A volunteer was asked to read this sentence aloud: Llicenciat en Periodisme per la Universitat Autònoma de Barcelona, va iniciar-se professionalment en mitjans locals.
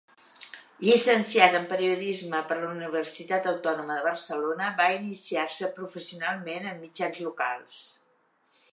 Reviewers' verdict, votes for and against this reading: accepted, 2, 0